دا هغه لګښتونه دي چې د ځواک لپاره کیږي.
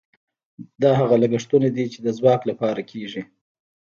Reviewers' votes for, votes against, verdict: 1, 3, rejected